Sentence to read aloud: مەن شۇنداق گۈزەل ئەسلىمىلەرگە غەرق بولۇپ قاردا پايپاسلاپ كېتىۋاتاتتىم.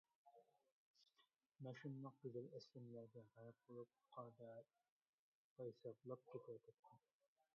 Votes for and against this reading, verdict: 0, 2, rejected